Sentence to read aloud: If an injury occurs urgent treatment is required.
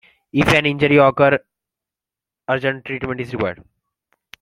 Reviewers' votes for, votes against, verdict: 0, 2, rejected